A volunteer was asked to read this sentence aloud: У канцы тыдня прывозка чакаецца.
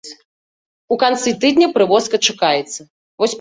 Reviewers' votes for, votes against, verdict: 1, 2, rejected